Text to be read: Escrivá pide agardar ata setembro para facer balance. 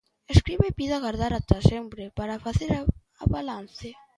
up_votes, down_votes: 0, 2